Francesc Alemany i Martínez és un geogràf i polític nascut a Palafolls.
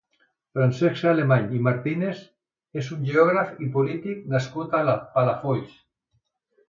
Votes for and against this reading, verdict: 1, 2, rejected